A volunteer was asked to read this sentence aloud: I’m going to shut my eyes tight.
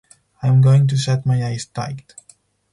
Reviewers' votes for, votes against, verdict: 4, 0, accepted